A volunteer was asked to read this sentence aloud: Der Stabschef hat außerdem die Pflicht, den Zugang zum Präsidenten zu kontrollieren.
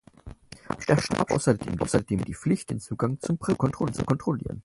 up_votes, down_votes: 0, 4